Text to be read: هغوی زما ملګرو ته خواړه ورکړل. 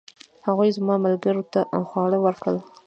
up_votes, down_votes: 2, 1